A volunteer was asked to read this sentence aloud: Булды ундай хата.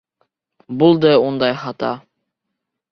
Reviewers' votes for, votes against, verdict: 2, 0, accepted